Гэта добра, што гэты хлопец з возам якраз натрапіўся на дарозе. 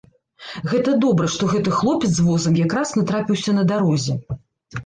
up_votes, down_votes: 2, 0